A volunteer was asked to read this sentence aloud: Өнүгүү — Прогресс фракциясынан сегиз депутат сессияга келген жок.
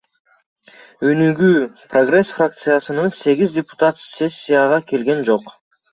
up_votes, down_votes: 1, 2